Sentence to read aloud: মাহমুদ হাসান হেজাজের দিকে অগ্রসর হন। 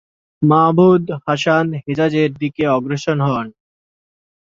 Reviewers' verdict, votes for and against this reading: rejected, 1, 3